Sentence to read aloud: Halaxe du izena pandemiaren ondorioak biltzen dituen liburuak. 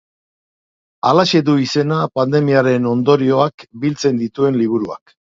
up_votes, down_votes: 6, 0